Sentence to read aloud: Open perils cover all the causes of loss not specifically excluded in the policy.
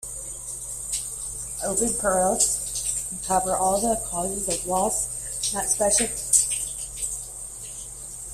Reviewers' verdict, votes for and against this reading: rejected, 0, 2